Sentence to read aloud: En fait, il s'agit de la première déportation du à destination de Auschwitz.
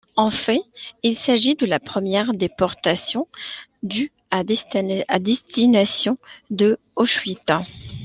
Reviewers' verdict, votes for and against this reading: rejected, 0, 2